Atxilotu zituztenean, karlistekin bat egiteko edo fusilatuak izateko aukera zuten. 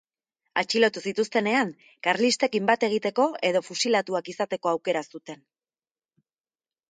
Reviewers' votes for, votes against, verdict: 3, 0, accepted